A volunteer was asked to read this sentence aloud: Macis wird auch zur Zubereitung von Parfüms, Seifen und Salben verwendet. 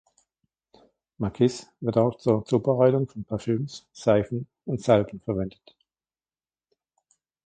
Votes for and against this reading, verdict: 2, 0, accepted